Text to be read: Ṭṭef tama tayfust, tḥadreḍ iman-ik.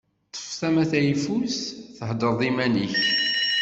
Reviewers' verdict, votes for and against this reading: accepted, 2, 0